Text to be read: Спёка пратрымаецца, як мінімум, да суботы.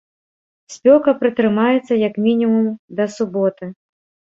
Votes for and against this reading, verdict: 2, 0, accepted